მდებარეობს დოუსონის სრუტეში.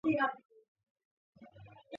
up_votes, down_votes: 0, 2